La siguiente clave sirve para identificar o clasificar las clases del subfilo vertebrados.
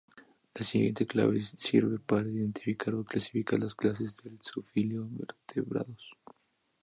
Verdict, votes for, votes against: rejected, 2, 2